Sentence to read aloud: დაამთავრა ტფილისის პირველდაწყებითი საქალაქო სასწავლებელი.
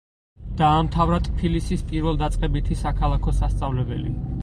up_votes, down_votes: 4, 0